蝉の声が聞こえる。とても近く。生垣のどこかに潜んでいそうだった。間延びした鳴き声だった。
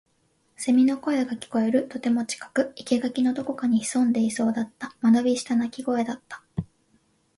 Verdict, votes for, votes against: accepted, 12, 2